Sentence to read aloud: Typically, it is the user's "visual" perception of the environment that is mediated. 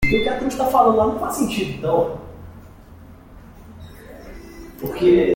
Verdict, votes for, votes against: rejected, 0, 2